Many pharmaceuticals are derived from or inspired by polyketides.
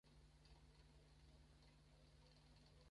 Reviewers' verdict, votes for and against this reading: rejected, 0, 2